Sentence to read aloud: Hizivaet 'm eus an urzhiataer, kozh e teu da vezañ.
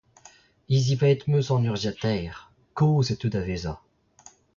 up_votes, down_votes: 2, 0